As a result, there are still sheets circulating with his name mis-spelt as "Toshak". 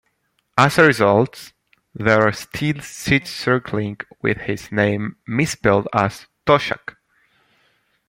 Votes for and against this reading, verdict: 2, 0, accepted